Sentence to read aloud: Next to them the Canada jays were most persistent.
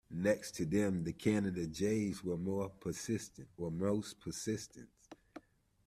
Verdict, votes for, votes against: rejected, 0, 2